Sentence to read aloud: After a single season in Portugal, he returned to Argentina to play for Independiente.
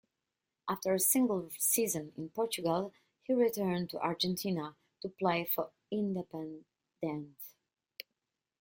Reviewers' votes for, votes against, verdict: 2, 0, accepted